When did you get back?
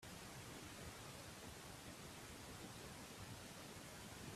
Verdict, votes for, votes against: rejected, 0, 2